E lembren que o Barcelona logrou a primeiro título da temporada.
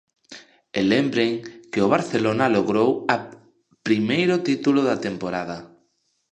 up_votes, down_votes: 0, 2